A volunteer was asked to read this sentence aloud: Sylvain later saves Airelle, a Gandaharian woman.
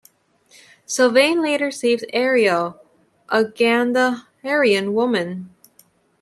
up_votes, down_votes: 2, 0